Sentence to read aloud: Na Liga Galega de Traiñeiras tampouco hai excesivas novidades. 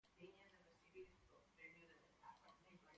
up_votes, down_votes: 0, 4